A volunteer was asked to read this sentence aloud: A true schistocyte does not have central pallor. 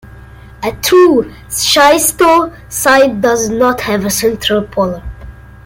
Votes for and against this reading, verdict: 0, 2, rejected